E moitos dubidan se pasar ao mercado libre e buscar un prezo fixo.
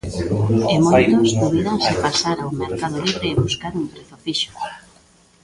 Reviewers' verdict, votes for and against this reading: rejected, 0, 2